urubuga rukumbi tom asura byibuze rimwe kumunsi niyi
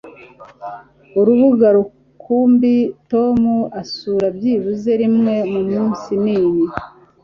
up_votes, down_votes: 2, 0